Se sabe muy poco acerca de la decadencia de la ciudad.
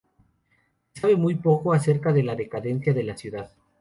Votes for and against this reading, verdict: 0, 2, rejected